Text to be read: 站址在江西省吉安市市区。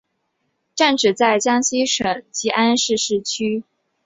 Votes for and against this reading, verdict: 3, 2, accepted